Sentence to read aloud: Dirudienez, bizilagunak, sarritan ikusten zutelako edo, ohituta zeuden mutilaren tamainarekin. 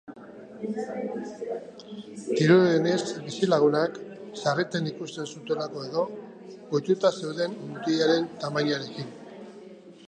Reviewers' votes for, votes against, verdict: 2, 1, accepted